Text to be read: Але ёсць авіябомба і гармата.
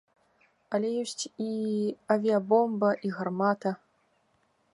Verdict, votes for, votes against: rejected, 0, 2